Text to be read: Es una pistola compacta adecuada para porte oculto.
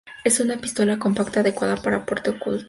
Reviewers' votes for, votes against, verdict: 2, 0, accepted